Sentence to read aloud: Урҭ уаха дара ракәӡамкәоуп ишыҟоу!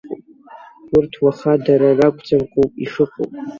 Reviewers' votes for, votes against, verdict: 0, 2, rejected